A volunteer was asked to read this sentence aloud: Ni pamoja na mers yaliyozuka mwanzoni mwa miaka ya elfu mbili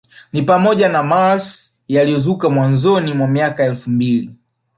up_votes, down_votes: 1, 2